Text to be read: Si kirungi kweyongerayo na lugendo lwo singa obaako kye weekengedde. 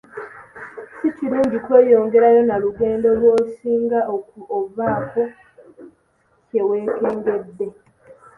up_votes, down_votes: 1, 2